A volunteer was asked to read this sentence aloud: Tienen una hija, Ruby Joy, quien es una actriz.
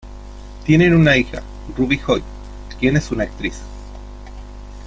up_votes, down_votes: 2, 1